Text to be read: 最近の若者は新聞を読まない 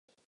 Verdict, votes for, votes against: rejected, 0, 2